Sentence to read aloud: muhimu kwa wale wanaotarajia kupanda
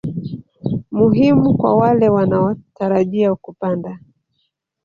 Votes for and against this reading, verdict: 0, 2, rejected